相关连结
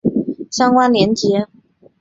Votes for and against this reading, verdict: 10, 0, accepted